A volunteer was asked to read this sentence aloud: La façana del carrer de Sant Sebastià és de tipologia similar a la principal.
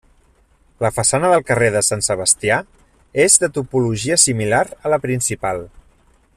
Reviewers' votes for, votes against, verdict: 0, 2, rejected